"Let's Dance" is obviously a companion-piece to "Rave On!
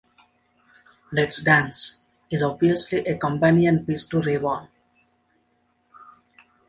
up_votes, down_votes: 2, 0